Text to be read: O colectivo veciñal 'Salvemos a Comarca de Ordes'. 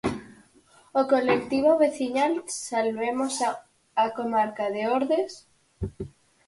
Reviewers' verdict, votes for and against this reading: accepted, 4, 0